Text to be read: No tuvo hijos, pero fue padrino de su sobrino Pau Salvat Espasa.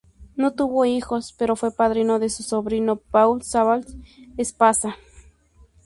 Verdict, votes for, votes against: rejected, 2, 2